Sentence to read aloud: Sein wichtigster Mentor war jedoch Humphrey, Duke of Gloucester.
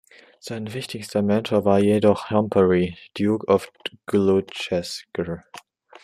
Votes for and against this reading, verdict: 1, 2, rejected